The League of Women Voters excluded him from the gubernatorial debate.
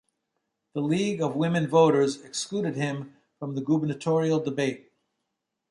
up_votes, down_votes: 2, 0